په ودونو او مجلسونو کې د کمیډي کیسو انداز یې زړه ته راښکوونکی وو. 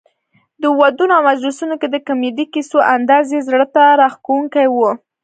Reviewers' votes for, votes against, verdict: 1, 2, rejected